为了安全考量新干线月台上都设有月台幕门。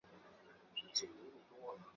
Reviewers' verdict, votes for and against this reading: rejected, 2, 3